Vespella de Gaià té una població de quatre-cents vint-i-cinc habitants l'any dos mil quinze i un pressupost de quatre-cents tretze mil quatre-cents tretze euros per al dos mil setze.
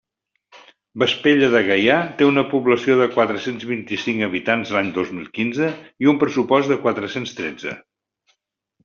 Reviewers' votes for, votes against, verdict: 0, 2, rejected